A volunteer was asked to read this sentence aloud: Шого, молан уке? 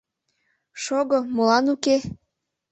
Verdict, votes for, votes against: accepted, 2, 0